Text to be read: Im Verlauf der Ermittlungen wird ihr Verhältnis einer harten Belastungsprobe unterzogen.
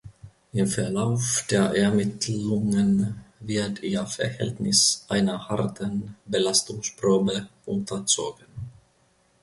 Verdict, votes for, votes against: rejected, 1, 2